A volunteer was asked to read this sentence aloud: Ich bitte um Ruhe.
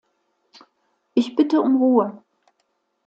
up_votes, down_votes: 2, 0